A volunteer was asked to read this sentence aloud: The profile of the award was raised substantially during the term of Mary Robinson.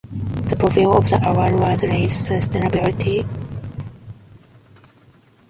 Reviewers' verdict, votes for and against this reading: rejected, 0, 2